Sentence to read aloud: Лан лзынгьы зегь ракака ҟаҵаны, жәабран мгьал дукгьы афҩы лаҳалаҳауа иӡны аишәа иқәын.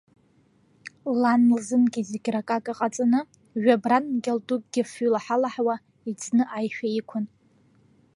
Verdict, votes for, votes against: rejected, 0, 2